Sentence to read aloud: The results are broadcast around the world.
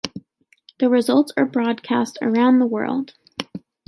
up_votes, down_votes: 2, 0